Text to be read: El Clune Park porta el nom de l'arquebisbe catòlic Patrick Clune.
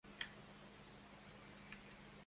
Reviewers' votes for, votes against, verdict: 0, 2, rejected